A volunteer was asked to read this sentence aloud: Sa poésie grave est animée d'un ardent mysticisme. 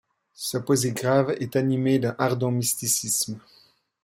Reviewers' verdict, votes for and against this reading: accepted, 2, 0